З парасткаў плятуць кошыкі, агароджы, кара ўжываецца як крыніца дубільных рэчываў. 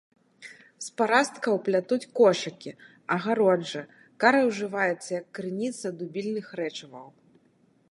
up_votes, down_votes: 1, 2